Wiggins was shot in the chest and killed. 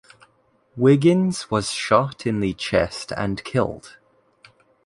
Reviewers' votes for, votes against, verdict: 2, 0, accepted